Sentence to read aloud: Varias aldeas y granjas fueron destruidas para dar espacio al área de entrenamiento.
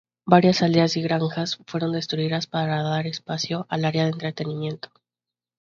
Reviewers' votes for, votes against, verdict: 0, 2, rejected